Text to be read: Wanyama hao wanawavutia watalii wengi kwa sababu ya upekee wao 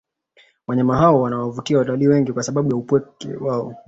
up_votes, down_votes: 2, 0